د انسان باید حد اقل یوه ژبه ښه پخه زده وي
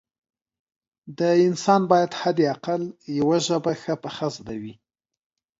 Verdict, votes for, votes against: accepted, 2, 0